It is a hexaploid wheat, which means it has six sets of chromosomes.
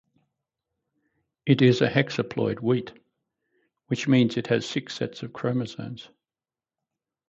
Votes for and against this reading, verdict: 4, 0, accepted